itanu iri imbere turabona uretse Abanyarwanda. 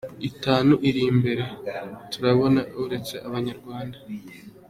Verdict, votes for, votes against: accepted, 2, 0